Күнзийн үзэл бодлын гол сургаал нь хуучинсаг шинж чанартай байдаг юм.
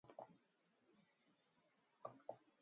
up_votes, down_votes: 2, 2